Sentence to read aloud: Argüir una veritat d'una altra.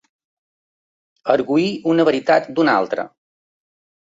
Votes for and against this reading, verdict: 2, 0, accepted